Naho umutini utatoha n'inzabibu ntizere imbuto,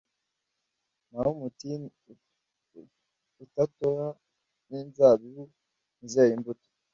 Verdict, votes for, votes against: rejected, 1, 2